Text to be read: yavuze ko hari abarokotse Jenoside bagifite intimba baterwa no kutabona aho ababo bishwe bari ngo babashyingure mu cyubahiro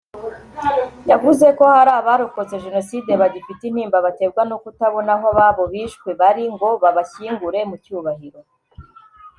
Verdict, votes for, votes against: accepted, 2, 0